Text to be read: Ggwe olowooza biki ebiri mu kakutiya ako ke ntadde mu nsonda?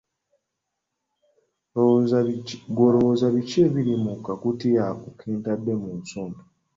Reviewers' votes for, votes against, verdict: 1, 2, rejected